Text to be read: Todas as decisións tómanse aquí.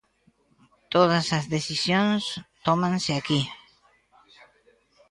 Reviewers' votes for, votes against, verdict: 2, 0, accepted